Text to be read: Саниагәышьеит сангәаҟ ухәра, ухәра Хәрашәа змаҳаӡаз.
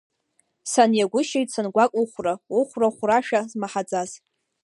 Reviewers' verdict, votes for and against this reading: accepted, 2, 0